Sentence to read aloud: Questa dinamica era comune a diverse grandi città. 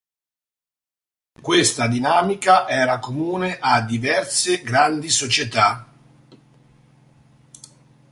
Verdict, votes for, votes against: rejected, 0, 3